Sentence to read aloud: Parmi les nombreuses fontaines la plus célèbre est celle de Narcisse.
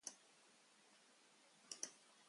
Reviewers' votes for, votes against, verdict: 1, 2, rejected